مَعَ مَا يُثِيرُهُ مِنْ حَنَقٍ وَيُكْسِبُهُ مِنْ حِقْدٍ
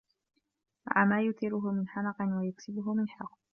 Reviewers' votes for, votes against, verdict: 0, 2, rejected